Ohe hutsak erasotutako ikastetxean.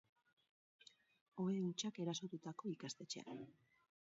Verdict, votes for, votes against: rejected, 2, 2